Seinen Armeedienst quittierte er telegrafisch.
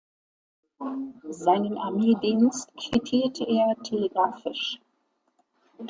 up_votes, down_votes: 2, 0